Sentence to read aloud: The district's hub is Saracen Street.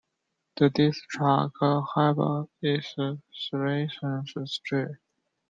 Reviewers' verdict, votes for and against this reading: rejected, 1, 2